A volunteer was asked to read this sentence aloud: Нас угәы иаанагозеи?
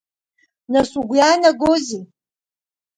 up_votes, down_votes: 2, 0